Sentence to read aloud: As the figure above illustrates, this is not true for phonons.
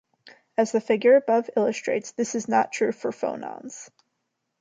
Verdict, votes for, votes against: accepted, 2, 0